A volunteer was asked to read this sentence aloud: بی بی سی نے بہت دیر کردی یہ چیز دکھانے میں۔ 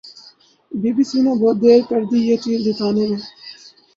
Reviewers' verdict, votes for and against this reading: rejected, 4, 6